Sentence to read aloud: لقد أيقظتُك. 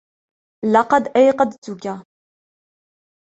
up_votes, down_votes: 2, 0